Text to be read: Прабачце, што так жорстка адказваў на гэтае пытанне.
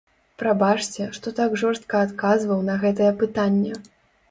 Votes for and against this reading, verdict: 3, 0, accepted